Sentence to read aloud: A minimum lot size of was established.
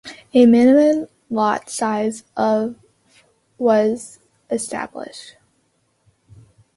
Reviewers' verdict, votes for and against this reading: accepted, 2, 0